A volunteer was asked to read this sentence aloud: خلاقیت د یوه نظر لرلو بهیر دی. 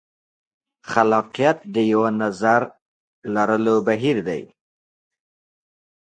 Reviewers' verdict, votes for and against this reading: accepted, 2, 0